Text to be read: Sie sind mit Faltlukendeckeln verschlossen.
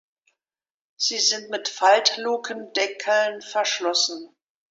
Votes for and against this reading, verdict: 2, 0, accepted